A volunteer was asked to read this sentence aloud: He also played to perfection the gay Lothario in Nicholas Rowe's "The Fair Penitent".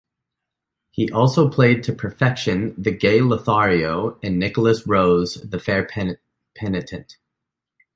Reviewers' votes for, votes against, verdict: 0, 3, rejected